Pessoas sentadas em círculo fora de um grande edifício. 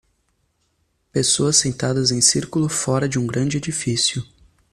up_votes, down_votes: 2, 0